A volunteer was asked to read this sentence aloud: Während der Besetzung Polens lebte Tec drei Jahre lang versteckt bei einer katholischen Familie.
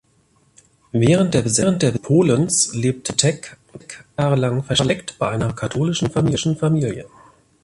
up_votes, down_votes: 0, 2